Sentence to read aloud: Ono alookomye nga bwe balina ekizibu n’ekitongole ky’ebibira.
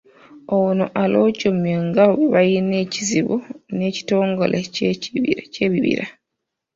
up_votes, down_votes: 0, 2